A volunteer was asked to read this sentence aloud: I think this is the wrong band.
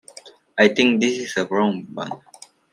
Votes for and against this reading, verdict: 2, 0, accepted